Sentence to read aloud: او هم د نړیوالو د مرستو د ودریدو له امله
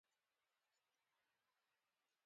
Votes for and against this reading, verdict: 0, 2, rejected